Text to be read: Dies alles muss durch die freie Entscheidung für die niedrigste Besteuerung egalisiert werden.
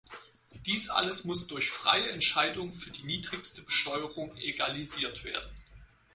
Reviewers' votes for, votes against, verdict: 4, 0, accepted